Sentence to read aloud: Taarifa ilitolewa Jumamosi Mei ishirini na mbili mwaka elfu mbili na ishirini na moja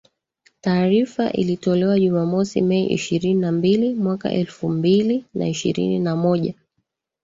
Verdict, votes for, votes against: accepted, 2, 1